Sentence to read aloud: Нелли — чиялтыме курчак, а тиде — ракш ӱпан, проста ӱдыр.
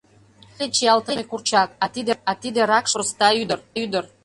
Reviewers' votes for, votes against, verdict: 1, 2, rejected